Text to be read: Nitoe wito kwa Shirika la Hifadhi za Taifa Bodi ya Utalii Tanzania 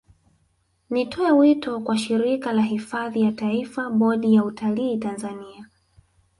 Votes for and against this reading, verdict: 2, 0, accepted